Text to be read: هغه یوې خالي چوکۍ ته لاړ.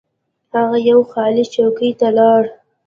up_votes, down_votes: 1, 2